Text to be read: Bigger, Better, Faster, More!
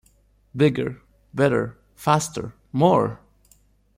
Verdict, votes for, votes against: accepted, 2, 0